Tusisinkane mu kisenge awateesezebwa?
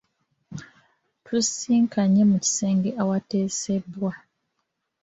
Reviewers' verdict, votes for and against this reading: rejected, 0, 2